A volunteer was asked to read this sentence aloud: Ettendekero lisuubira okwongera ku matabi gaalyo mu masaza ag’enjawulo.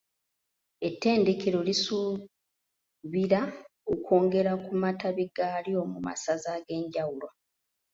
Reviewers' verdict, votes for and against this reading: rejected, 0, 2